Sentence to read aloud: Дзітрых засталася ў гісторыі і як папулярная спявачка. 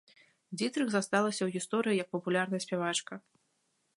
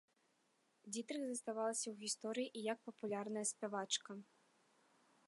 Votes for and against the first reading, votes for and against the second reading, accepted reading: 2, 1, 1, 2, first